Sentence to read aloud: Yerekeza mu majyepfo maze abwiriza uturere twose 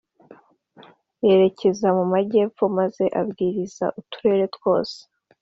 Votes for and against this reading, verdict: 2, 0, accepted